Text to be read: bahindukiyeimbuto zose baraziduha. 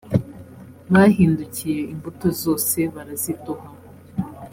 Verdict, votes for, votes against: accepted, 2, 0